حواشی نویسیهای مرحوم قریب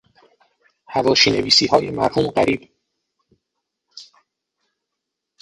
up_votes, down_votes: 3, 3